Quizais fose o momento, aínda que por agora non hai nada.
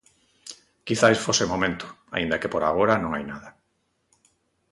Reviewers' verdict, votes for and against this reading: accepted, 2, 0